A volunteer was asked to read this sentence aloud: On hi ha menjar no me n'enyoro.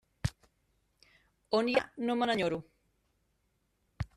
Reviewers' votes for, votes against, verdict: 0, 2, rejected